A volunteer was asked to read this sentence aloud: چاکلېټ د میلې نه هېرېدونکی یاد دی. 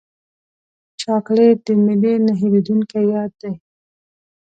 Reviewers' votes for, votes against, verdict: 3, 0, accepted